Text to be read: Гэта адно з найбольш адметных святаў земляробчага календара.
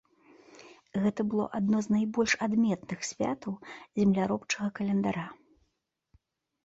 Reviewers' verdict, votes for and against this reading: rejected, 0, 2